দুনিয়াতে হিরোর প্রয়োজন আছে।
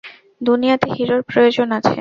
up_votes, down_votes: 4, 0